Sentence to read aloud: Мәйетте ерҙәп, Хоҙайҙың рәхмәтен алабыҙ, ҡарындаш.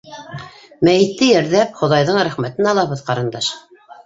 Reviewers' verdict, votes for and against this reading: rejected, 0, 2